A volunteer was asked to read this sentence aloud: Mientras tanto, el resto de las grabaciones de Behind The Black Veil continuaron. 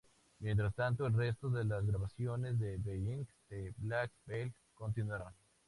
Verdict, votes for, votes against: accepted, 2, 0